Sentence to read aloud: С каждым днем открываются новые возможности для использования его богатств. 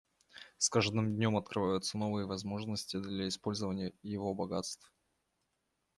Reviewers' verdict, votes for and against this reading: rejected, 1, 2